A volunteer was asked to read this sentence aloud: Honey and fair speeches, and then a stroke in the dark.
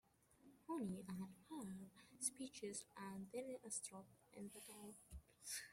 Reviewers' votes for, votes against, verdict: 0, 2, rejected